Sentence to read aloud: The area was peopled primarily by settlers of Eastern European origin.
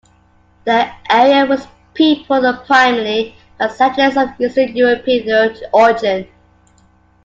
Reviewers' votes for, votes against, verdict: 2, 1, accepted